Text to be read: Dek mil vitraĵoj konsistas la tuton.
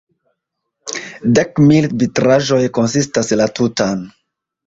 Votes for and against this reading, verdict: 2, 3, rejected